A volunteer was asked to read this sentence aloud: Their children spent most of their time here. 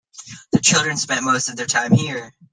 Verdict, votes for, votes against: rejected, 1, 2